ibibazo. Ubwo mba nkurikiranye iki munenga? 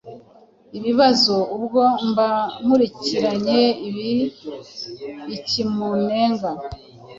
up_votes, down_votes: 2, 0